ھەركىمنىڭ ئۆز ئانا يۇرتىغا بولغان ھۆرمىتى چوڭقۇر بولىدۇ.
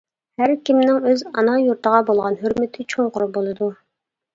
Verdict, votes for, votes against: accepted, 2, 0